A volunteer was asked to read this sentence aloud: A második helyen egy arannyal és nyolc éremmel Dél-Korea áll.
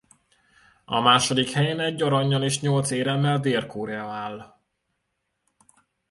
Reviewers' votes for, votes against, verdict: 2, 0, accepted